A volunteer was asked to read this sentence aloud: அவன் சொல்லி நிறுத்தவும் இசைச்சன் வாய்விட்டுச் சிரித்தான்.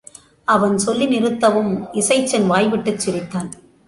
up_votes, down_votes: 2, 1